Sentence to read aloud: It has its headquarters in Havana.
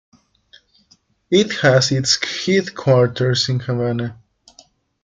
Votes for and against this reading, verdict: 2, 0, accepted